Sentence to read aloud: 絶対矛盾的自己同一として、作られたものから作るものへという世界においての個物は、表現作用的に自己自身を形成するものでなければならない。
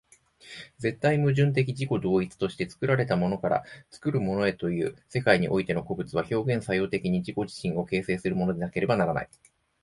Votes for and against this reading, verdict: 2, 0, accepted